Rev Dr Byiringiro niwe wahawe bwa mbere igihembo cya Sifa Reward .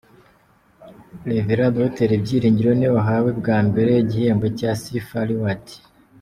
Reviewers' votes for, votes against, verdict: 2, 0, accepted